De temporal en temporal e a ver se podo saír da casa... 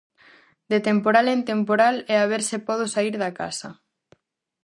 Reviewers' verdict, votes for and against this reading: accepted, 4, 0